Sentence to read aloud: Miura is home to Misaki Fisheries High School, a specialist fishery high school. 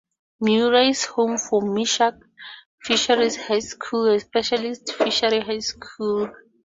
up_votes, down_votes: 2, 2